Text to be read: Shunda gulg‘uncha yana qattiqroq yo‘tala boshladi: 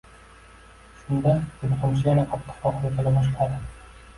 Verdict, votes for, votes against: rejected, 1, 2